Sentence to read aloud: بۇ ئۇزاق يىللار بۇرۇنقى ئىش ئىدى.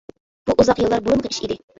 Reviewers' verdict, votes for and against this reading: rejected, 2, 3